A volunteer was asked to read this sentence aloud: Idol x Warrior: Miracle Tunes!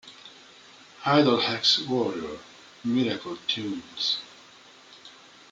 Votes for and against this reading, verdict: 0, 2, rejected